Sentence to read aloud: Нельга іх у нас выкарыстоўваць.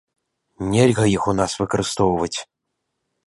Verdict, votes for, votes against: accepted, 2, 0